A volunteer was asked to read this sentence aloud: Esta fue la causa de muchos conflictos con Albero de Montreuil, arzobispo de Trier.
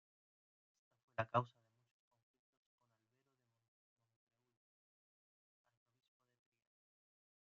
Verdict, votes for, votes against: rejected, 0, 2